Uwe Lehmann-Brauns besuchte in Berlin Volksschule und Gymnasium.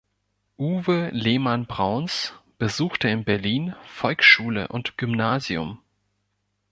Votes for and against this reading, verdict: 2, 0, accepted